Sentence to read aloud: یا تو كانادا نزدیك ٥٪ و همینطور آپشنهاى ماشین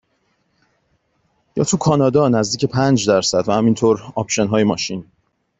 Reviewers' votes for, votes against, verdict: 0, 2, rejected